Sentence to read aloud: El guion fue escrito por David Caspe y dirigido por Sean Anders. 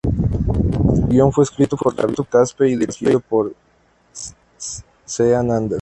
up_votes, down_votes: 0, 2